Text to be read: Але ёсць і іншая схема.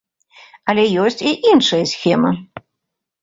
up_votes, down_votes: 2, 0